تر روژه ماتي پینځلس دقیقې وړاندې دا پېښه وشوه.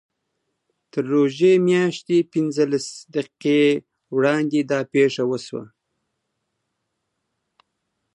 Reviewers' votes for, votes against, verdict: 1, 2, rejected